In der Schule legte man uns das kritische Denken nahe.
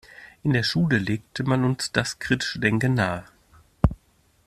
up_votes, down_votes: 2, 0